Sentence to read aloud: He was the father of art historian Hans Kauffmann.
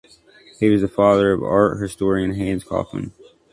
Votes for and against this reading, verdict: 2, 0, accepted